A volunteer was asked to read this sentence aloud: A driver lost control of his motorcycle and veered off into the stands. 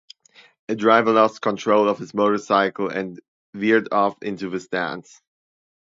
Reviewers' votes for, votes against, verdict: 0, 2, rejected